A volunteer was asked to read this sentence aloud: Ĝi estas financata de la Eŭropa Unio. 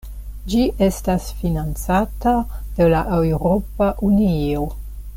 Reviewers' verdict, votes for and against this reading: accepted, 2, 0